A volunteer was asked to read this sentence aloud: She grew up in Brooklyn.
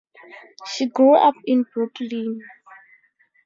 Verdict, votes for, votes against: rejected, 0, 2